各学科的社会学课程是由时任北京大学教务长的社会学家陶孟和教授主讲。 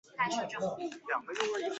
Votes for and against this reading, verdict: 1, 4, rejected